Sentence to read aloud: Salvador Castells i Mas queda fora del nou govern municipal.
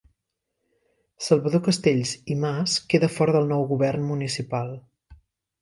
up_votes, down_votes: 2, 0